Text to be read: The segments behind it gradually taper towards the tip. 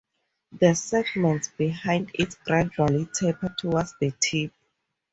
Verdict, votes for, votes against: rejected, 0, 2